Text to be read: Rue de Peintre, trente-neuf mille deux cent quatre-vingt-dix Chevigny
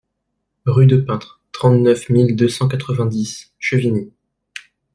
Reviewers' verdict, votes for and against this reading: accepted, 2, 0